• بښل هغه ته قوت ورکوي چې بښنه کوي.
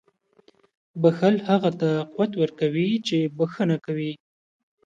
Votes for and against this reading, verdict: 2, 0, accepted